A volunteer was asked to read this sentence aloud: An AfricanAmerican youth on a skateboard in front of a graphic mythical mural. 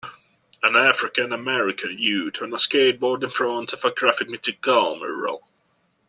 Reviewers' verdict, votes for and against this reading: accepted, 2, 1